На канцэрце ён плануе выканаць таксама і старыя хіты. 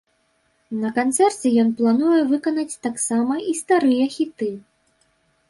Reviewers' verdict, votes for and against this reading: accepted, 3, 0